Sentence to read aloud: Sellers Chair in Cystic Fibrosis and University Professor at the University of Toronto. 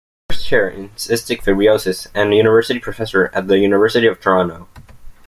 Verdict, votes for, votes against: rejected, 1, 2